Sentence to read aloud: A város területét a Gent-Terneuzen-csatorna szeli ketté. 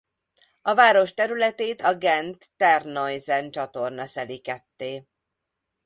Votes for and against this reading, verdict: 2, 0, accepted